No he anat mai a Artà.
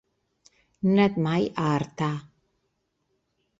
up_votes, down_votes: 1, 3